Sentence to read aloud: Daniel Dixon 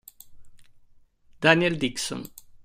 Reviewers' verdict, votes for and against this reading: accepted, 2, 0